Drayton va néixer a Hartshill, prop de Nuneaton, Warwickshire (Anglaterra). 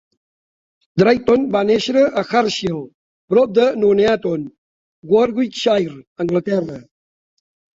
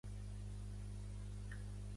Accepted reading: first